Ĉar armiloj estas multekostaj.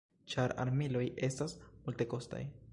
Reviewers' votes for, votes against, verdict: 2, 1, accepted